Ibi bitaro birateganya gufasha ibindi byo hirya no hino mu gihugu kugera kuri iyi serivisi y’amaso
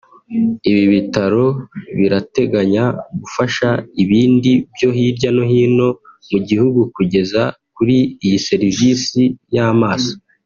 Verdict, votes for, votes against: rejected, 0, 2